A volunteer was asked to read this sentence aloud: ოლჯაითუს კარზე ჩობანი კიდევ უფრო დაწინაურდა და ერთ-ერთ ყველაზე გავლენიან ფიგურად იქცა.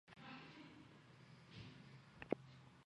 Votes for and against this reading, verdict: 0, 2, rejected